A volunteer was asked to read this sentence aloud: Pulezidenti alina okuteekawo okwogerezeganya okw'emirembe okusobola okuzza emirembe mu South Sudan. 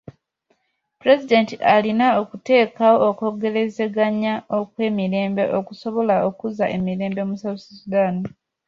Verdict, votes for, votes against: accepted, 2, 0